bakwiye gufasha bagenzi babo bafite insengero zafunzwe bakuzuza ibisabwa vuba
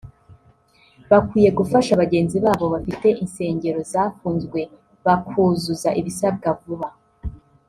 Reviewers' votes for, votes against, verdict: 0, 2, rejected